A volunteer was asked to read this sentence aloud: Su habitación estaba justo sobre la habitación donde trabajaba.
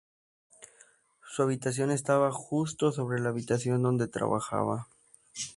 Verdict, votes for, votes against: accepted, 2, 0